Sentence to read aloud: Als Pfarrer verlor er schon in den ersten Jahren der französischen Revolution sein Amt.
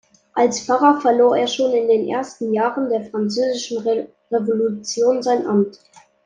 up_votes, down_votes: 2, 1